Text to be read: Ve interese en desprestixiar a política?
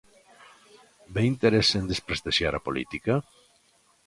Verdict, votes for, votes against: accepted, 2, 0